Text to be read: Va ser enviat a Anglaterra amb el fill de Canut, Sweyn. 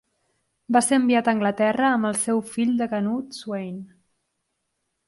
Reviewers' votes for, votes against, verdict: 0, 2, rejected